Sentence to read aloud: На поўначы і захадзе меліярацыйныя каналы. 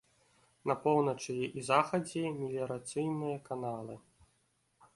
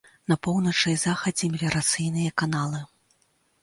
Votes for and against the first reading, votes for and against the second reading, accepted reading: 2, 0, 0, 2, first